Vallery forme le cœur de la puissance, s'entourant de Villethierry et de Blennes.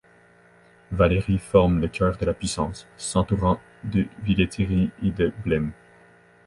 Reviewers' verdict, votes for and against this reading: accepted, 2, 1